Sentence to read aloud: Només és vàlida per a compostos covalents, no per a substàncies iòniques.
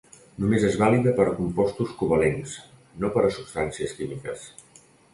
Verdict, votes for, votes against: rejected, 0, 2